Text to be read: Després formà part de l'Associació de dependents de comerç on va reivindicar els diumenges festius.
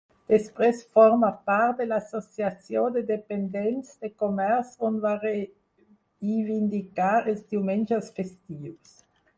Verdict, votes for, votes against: rejected, 2, 4